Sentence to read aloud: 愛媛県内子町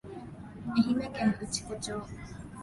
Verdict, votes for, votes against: accepted, 4, 2